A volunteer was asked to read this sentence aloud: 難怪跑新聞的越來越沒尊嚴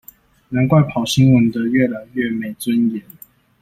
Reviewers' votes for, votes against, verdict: 2, 0, accepted